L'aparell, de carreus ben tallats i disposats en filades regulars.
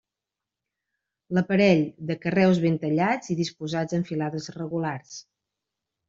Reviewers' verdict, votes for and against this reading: accepted, 2, 0